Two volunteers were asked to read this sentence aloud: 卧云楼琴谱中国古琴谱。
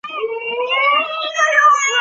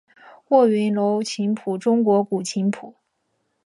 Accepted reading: second